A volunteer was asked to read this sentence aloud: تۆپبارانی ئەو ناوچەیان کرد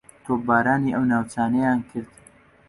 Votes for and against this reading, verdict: 0, 2, rejected